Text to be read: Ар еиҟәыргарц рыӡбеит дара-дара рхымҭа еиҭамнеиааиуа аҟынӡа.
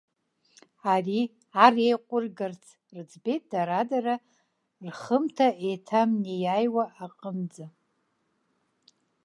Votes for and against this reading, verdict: 1, 2, rejected